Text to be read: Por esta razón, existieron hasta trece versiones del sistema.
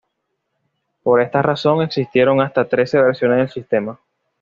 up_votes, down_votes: 2, 0